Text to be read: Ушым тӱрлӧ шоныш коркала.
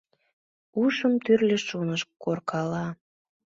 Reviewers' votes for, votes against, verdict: 2, 0, accepted